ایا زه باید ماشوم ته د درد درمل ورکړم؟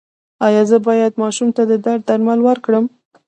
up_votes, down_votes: 1, 2